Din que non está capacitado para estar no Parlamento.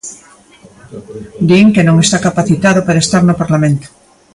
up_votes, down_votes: 2, 0